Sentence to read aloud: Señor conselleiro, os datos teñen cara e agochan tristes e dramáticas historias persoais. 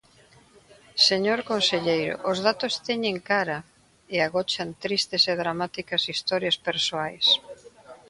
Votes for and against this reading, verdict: 2, 0, accepted